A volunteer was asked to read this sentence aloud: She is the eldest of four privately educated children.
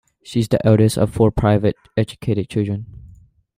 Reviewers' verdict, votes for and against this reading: rejected, 0, 2